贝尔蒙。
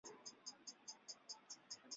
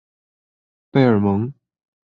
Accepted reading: second